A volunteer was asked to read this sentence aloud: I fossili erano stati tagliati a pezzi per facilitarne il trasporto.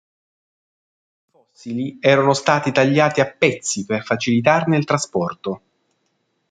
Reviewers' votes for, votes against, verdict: 0, 2, rejected